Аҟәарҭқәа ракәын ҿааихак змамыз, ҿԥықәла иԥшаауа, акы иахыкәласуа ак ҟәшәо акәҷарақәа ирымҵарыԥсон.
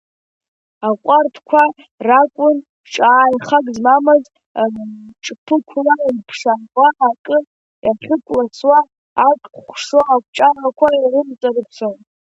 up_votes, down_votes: 1, 2